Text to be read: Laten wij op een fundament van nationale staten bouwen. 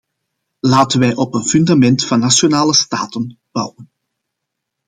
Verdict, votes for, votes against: accepted, 2, 0